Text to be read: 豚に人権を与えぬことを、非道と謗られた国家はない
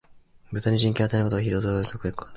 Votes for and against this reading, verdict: 0, 2, rejected